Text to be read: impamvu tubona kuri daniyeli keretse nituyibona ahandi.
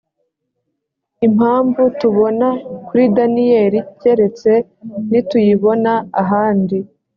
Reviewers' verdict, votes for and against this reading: accepted, 2, 0